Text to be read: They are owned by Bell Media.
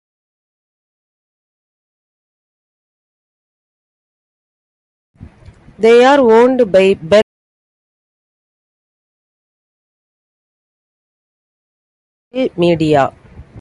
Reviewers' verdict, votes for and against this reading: rejected, 0, 2